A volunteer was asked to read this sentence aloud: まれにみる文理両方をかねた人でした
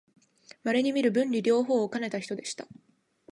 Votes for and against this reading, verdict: 2, 0, accepted